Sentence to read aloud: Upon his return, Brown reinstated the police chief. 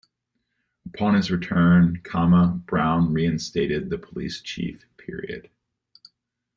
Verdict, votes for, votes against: accepted, 2, 1